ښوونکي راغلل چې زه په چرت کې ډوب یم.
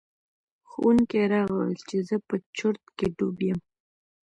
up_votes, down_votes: 1, 2